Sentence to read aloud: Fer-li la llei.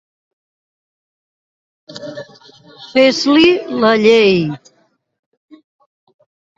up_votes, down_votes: 1, 3